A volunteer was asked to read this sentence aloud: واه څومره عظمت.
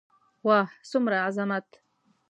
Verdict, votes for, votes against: accepted, 2, 0